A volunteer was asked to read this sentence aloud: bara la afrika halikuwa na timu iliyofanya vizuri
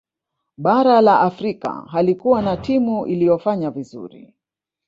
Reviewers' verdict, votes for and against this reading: rejected, 1, 2